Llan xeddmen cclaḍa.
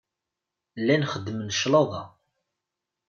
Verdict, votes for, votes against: accepted, 2, 0